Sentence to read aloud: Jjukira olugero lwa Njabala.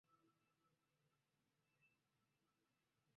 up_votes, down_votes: 0, 2